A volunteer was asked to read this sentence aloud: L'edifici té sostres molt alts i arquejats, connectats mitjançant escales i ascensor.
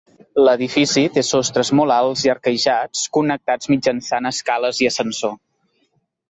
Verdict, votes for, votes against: accepted, 3, 0